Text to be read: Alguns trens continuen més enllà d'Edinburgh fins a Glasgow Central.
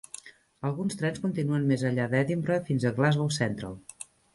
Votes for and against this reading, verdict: 1, 2, rejected